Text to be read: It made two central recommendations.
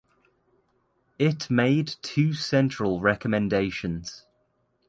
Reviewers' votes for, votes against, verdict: 2, 0, accepted